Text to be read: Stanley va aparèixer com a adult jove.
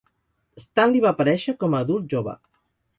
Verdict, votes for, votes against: rejected, 2, 2